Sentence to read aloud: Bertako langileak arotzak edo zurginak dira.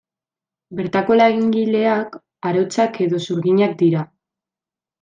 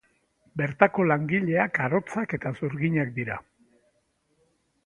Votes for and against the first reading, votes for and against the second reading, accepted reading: 2, 1, 1, 2, first